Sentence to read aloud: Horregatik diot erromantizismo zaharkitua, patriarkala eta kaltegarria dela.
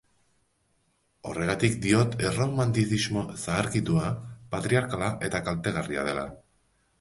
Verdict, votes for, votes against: accepted, 5, 0